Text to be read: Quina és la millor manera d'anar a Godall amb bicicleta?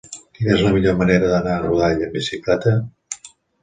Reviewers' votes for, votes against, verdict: 2, 0, accepted